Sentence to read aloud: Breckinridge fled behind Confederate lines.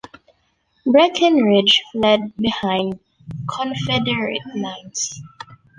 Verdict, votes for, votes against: accepted, 2, 0